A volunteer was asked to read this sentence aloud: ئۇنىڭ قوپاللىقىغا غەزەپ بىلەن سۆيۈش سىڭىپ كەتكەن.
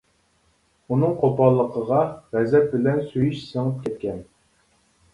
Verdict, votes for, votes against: accepted, 2, 0